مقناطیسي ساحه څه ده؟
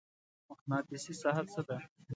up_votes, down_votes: 2, 0